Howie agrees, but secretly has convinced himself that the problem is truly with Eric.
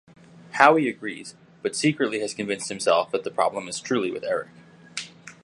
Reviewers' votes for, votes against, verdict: 3, 0, accepted